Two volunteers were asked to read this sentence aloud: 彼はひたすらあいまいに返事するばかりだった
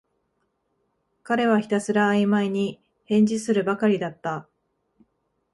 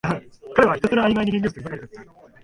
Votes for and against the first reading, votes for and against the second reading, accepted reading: 2, 0, 1, 2, first